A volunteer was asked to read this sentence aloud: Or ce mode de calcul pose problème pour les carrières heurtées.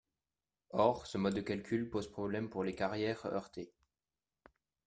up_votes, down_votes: 2, 0